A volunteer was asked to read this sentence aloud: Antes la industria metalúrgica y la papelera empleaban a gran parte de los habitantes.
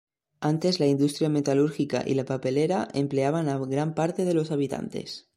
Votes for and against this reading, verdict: 0, 2, rejected